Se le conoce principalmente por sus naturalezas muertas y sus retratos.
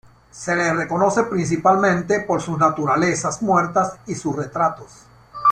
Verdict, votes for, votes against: rejected, 0, 2